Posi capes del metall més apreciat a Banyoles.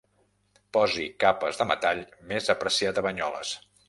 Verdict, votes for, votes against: rejected, 1, 2